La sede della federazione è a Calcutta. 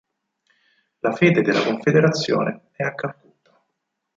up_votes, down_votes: 2, 4